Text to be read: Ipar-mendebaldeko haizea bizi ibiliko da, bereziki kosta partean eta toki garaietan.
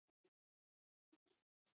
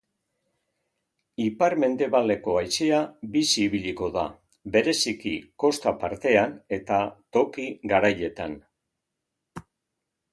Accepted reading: second